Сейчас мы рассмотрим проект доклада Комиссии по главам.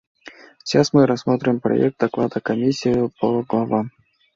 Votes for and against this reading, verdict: 2, 1, accepted